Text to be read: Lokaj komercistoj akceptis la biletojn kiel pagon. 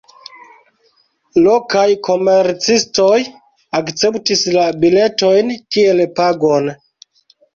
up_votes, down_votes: 2, 0